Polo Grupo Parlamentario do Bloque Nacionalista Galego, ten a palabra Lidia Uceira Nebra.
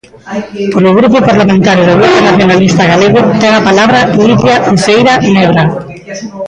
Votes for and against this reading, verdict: 0, 2, rejected